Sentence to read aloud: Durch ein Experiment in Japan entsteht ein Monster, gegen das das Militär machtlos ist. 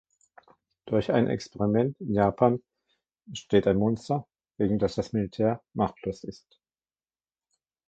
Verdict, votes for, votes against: rejected, 1, 2